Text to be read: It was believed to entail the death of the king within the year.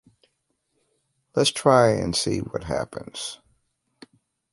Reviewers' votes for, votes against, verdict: 0, 2, rejected